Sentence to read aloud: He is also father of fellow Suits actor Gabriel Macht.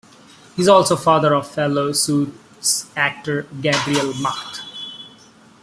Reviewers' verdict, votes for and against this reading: rejected, 1, 2